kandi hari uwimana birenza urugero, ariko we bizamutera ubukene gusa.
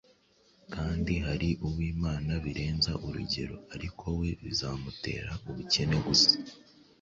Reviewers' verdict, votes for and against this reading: accepted, 2, 0